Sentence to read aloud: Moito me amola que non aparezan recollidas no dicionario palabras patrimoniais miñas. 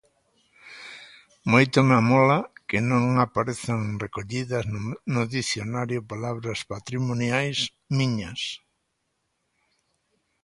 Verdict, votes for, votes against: rejected, 1, 2